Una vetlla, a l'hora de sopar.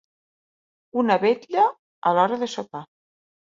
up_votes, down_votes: 3, 0